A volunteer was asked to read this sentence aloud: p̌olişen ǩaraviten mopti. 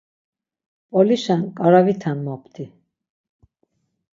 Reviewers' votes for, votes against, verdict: 6, 0, accepted